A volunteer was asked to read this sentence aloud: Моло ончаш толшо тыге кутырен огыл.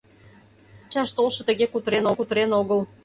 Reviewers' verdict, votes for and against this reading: rejected, 0, 2